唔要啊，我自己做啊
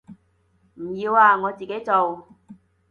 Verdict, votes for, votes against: rejected, 1, 2